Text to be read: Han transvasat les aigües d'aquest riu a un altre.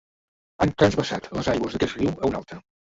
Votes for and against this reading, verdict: 1, 2, rejected